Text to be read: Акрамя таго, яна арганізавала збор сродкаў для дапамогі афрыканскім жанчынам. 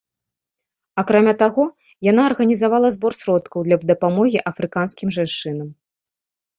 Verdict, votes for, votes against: rejected, 2, 3